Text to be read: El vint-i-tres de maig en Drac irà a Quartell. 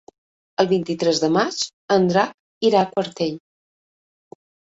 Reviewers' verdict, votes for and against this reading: accepted, 2, 0